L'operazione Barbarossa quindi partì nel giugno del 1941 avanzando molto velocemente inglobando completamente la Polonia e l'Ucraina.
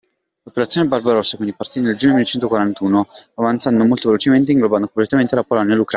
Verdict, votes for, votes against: rejected, 0, 2